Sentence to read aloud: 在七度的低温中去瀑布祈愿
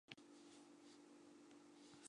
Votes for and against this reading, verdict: 0, 2, rejected